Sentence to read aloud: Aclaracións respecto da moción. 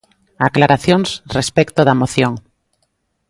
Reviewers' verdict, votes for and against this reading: accepted, 3, 0